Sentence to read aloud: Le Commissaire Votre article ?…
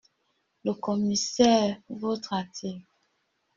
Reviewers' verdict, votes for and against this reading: rejected, 1, 2